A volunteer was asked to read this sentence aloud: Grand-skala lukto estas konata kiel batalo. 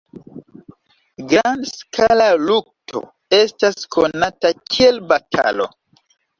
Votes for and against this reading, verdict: 2, 0, accepted